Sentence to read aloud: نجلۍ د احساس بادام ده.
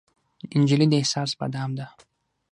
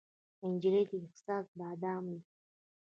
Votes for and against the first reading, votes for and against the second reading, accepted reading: 6, 0, 1, 2, first